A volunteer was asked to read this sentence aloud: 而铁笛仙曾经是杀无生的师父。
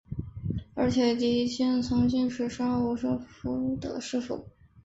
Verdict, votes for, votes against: accepted, 2, 0